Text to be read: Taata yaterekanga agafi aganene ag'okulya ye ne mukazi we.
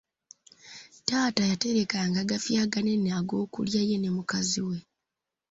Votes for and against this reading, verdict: 2, 0, accepted